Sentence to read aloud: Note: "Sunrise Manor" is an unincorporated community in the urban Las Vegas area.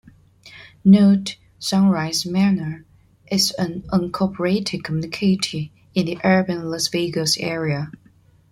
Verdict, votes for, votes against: rejected, 1, 2